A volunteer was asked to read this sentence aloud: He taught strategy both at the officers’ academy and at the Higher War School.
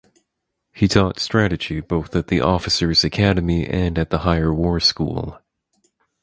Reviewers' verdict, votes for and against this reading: accepted, 4, 0